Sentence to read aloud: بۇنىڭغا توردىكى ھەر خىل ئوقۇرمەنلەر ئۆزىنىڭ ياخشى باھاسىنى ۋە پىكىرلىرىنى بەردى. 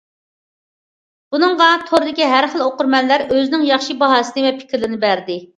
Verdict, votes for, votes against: accepted, 2, 0